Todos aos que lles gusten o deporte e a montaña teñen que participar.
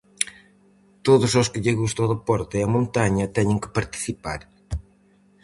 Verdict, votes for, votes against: rejected, 0, 4